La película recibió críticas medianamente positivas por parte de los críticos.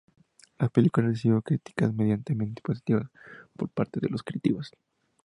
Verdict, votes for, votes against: accepted, 4, 0